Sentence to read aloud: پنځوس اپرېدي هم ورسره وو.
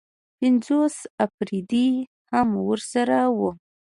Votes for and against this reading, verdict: 2, 0, accepted